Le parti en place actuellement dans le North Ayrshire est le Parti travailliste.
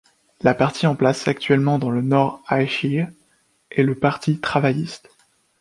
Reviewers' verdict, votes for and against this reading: rejected, 1, 2